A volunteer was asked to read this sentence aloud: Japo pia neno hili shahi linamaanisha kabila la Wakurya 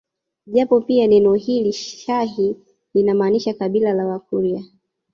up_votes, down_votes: 6, 1